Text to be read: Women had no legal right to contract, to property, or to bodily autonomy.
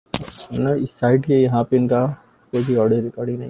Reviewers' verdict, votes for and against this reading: rejected, 0, 3